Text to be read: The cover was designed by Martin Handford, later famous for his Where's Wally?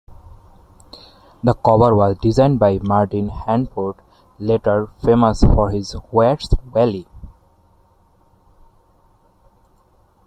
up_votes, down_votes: 1, 2